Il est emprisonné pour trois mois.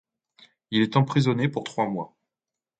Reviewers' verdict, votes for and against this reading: accepted, 2, 0